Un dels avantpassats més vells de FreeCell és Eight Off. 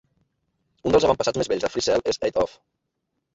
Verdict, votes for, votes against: accepted, 2, 1